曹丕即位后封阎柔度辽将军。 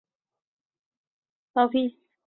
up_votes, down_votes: 0, 2